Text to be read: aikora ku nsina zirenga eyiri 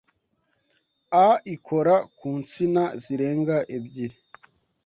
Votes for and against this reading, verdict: 0, 2, rejected